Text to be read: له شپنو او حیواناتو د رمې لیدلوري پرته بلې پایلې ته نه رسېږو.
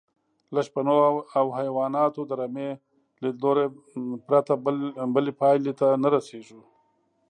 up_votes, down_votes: 1, 2